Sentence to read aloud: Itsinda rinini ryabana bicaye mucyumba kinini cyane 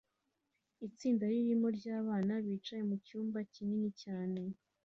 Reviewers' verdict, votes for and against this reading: accepted, 2, 0